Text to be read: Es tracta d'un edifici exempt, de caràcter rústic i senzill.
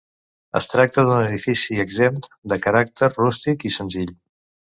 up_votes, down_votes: 2, 0